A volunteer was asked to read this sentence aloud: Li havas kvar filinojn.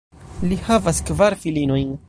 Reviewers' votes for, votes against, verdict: 1, 2, rejected